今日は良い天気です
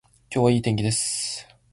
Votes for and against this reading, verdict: 0, 2, rejected